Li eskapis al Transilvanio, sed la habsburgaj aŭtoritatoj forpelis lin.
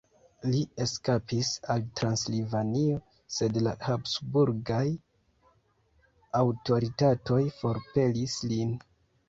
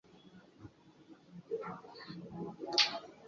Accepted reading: second